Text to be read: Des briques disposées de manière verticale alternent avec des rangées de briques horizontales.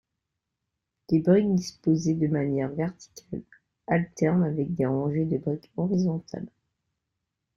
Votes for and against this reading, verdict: 0, 2, rejected